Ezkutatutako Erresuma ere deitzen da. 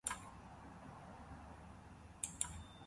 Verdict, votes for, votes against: rejected, 0, 2